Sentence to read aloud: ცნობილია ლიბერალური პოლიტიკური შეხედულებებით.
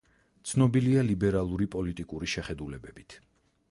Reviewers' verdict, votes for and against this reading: accepted, 4, 0